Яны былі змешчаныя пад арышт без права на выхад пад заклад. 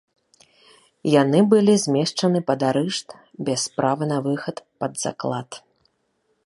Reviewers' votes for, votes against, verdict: 0, 3, rejected